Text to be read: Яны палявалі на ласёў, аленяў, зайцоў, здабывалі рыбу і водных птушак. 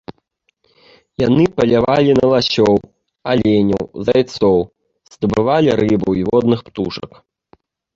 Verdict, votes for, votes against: accepted, 2, 0